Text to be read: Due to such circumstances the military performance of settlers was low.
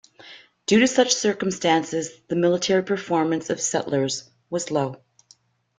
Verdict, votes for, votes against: accepted, 2, 0